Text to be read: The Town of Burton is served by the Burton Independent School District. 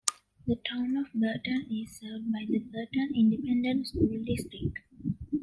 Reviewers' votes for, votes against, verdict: 2, 0, accepted